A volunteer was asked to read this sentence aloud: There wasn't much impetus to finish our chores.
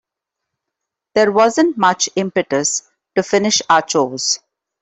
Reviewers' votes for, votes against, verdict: 2, 0, accepted